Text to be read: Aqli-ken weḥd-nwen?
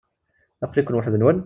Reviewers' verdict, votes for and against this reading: accepted, 2, 0